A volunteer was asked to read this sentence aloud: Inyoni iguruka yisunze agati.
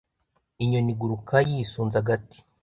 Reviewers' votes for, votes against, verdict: 2, 0, accepted